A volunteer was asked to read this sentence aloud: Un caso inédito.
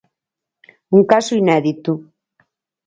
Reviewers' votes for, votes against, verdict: 6, 0, accepted